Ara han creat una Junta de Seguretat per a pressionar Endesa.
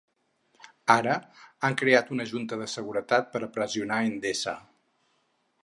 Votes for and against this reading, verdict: 2, 2, rejected